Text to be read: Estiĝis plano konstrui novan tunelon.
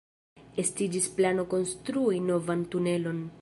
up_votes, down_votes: 1, 2